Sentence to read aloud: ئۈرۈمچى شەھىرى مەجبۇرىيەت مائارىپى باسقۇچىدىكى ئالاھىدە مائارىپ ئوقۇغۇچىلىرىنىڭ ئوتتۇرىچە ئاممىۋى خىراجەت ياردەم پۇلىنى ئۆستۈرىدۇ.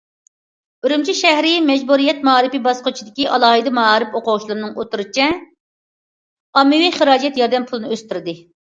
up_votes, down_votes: 0, 2